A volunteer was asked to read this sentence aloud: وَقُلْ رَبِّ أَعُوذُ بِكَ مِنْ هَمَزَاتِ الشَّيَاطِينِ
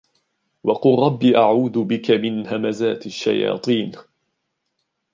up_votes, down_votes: 2, 0